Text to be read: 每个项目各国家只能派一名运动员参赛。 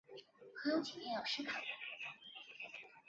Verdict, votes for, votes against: rejected, 1, 2